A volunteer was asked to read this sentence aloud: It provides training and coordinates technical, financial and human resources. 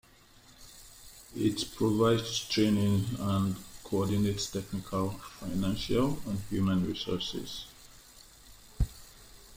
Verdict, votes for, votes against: accepted, 2, 1